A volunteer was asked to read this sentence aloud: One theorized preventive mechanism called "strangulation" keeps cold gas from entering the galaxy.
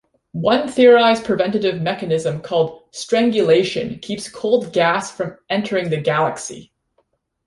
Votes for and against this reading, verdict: 2, 0, accepted